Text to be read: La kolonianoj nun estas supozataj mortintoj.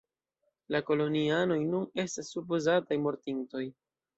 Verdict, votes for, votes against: rejected, 1, 2